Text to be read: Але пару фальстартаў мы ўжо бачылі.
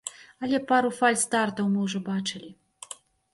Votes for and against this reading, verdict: 2, 0, accepted